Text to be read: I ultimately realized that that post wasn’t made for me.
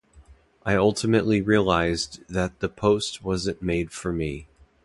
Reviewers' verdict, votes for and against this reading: accepted, 2, 0